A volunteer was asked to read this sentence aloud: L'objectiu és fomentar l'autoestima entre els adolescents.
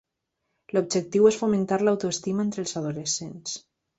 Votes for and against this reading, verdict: 3, 0, accepted